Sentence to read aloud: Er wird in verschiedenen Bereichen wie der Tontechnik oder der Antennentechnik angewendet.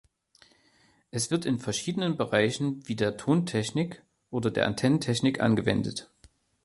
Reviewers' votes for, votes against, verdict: 0, 2, rejected